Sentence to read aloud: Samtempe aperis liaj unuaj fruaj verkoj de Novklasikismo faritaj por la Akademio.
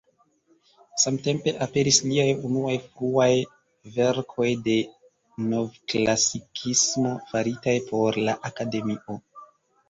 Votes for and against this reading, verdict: 1, 2, rejected